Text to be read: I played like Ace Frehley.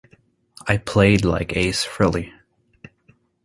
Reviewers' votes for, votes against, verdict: 2, 0, accepted